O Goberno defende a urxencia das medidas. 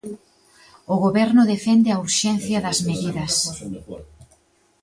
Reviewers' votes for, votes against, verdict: 0, 2, rejected